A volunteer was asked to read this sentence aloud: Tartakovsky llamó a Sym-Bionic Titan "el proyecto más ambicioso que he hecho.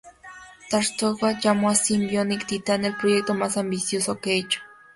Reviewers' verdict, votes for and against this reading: rejected, 0, 2